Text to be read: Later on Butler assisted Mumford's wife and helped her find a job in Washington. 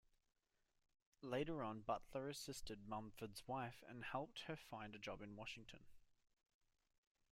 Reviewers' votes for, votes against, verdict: 1, 2, rejected